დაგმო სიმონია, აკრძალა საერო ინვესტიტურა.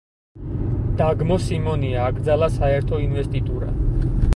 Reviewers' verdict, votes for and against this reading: rejected, 0, 4